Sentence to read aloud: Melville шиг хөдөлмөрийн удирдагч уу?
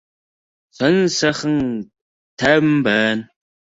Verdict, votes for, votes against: rejected, 1, 2